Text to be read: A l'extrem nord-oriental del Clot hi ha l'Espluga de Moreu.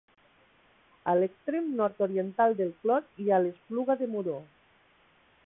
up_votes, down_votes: 1, 2